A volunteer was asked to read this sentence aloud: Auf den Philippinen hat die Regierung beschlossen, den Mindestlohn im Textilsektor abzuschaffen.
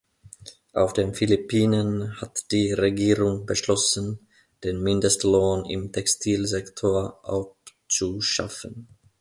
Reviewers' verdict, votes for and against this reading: rejected, 1, 2